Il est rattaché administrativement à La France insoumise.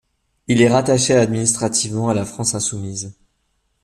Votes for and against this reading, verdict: 1, 2, rejected